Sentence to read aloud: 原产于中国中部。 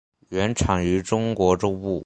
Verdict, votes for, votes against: accepted, 2, 0